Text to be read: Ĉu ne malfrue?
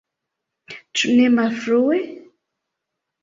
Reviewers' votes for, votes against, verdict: 2, 0, accepted